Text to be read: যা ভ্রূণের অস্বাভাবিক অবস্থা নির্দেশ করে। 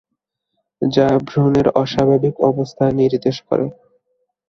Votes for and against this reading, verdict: 2, 2, rejected